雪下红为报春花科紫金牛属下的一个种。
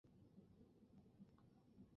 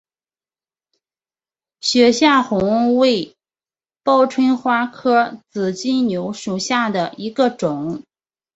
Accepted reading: second